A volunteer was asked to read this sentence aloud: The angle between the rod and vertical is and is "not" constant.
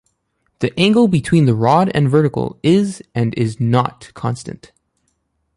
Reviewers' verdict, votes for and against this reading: rejected, 0, 2